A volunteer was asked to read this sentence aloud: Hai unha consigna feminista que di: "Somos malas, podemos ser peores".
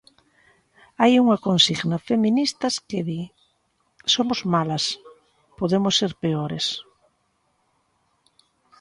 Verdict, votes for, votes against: rejected, 0, 2